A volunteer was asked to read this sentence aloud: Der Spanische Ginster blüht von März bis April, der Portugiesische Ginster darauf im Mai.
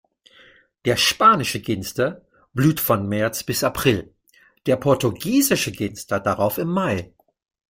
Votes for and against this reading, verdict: 2, 0, accepted